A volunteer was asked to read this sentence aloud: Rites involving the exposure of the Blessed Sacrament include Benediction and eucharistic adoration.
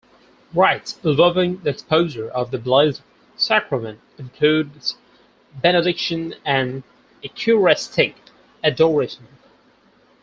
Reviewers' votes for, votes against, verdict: 2, 4, rejected